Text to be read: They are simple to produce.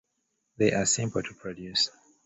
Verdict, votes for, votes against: accepted, 2, 0